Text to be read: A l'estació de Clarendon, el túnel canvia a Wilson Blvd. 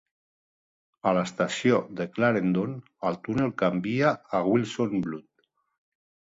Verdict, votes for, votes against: accepted, 3, 1